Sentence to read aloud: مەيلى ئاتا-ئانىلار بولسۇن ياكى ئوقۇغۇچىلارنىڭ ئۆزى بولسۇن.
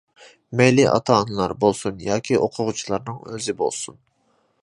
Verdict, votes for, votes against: accepted, 2, 0